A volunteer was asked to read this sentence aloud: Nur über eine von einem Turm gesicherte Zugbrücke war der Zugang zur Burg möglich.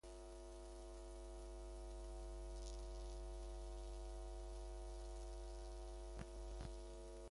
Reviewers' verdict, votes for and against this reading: rejected, 0, 2